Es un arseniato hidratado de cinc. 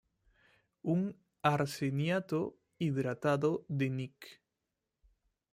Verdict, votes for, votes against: rejected, 0, 2